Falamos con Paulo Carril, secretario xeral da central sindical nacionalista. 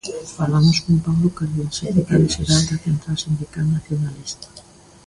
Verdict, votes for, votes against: rejected, 0, 2